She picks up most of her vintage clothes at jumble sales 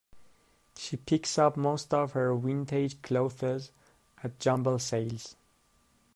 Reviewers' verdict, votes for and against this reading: rejected, 0, 2